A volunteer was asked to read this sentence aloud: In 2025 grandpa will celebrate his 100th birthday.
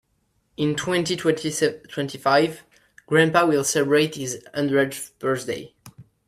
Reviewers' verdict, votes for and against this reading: rejected, 0, 2